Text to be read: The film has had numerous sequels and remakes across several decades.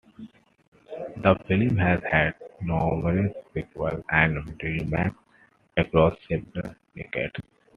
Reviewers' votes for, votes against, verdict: 0, 2, rejected